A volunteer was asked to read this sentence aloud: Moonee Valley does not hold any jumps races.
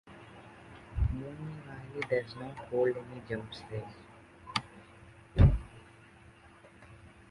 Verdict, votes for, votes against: rejected, 1, 2